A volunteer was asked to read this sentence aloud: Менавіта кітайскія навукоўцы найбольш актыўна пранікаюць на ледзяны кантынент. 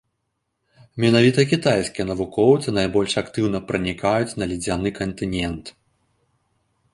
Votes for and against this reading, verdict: 2, 0, accepted